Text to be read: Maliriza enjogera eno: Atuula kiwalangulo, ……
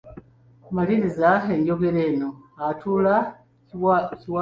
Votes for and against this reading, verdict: 0, 2, rejected